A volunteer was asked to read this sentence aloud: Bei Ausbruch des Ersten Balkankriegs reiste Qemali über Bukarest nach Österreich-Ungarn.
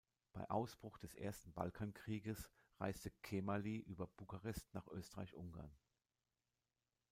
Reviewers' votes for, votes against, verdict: 0, 2, rejected